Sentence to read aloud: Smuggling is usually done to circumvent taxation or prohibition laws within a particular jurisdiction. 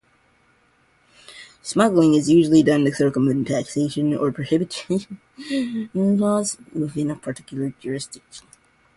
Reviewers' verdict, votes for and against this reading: rejected, 0, 2